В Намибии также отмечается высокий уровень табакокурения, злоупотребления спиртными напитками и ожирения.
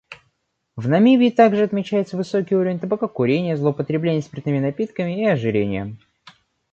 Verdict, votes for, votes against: accepted, 2, 0